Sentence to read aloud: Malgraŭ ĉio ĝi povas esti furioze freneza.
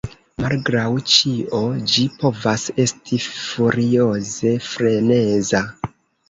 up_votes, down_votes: 0, 2